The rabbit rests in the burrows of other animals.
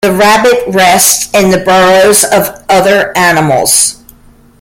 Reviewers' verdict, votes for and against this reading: rejected, 0, 2